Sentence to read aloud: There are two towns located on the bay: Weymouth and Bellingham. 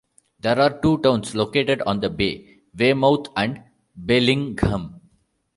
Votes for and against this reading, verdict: 2, 0, accepted